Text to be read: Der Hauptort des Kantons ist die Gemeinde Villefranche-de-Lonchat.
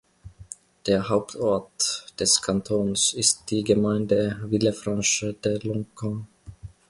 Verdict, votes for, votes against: rejected, 1, 2